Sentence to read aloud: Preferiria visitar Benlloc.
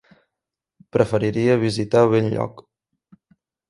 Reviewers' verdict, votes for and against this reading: accepted, 2, 0